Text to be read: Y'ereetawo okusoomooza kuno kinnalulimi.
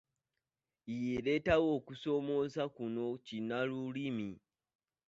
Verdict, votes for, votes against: rejected, 1, 2